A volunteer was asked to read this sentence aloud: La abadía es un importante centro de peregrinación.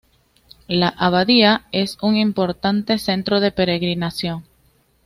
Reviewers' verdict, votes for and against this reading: accepted, 2, 0